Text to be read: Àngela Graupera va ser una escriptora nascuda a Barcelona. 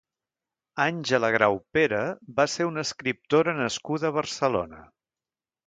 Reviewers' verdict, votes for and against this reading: accepted, 2, 0